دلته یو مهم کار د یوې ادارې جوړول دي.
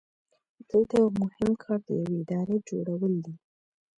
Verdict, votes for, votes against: rejected, 1, 2